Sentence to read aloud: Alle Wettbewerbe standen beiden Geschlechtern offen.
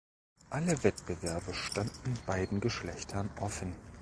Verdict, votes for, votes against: accepted, 3, 0